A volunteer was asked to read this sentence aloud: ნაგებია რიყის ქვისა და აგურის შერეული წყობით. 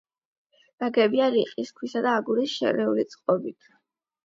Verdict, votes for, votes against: accepted, 8, 0